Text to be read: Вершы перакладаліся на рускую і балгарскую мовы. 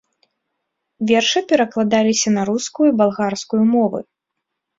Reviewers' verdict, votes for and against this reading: accepted, 3, 0